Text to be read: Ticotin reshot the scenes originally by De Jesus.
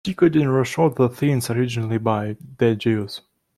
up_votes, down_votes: 2, 1